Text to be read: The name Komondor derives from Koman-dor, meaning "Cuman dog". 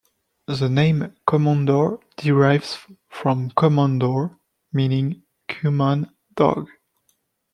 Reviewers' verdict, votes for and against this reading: accepted, 2, 0